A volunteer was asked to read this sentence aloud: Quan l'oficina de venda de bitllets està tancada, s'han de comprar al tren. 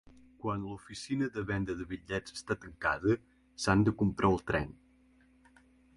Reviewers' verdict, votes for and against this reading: accepted, 2, 1